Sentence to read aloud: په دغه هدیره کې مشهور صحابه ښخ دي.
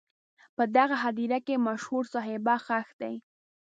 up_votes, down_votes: 1, 2